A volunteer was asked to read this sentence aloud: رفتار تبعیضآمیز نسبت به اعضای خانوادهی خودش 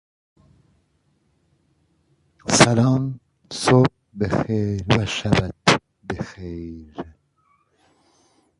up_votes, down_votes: 0, 2